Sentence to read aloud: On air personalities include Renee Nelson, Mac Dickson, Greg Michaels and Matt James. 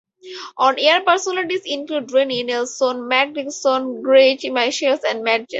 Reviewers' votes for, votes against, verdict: 4, 2, accepted